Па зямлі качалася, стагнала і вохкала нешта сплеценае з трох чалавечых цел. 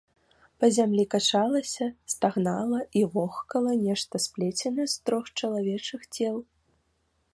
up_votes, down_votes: 2, 0